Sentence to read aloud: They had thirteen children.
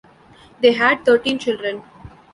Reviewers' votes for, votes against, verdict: 2, 0, accepted